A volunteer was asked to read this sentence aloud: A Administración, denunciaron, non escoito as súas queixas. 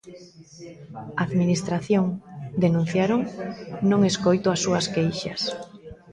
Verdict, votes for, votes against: rejected, 0, 2